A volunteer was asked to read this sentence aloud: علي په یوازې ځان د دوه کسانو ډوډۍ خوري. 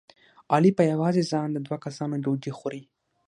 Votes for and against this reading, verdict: 6, 0, accepted